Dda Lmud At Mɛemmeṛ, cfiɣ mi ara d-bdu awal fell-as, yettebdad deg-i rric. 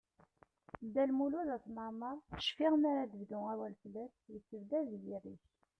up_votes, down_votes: 0, 2